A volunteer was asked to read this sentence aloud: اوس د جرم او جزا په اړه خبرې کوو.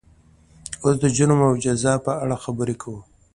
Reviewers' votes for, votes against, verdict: 2, 0, accepted